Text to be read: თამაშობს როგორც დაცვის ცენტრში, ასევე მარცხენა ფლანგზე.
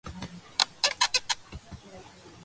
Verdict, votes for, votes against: rejected, 0, 2